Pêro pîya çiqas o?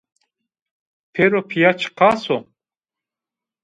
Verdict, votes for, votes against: rejected, 1, 2